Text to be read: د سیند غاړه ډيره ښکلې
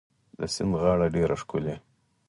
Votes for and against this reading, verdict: 4, 0, accepted